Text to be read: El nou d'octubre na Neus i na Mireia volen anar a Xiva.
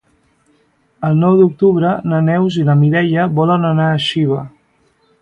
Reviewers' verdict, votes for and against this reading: accepted, 2, 1